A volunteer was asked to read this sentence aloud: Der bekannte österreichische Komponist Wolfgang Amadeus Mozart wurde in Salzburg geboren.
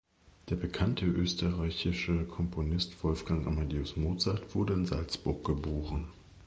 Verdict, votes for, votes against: accepted, 2, 1